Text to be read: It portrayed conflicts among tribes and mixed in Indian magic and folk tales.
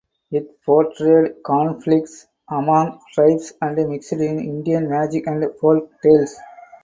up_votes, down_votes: 0, 4